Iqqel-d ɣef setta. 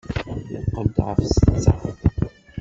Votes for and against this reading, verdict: 0, 2, rejected